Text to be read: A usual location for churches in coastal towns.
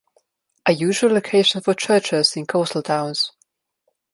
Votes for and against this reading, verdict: 2, 0, accepted